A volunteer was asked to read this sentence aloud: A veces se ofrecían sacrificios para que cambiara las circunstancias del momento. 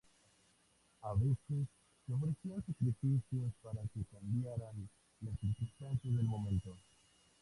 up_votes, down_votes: 2, 2